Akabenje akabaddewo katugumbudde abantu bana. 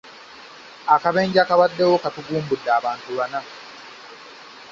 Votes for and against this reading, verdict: 2, 0, accepted